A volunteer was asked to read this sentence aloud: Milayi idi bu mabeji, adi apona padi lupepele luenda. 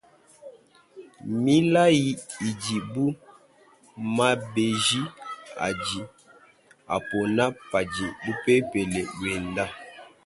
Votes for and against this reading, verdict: 1, 2, rejected